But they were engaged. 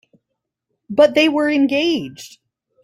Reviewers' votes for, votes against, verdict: 2, 0, accepted